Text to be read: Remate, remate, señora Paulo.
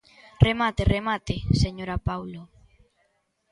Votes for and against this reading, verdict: 2, 0, accepted